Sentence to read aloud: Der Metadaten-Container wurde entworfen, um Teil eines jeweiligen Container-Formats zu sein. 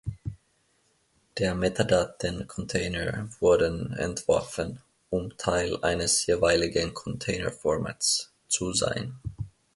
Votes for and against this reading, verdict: 1, 2, rejected